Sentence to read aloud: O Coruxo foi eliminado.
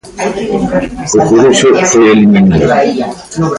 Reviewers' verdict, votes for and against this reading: rejected, 0, 2